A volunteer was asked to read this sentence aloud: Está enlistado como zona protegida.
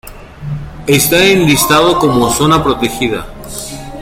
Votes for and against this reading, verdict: 2, 0, accepted